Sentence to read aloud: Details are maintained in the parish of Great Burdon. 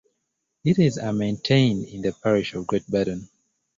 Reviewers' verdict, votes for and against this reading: accepted, 2, 0